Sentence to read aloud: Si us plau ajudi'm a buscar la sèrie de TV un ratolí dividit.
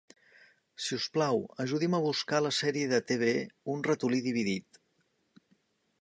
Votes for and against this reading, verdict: 2, 0, accepted